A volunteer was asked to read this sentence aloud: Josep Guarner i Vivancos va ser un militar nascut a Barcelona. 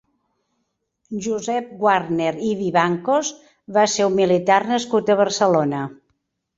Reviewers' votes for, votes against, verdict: 0, 2, rejected